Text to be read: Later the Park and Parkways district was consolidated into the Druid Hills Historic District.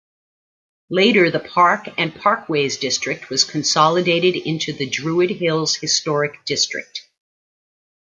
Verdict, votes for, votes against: accepted, 2, 0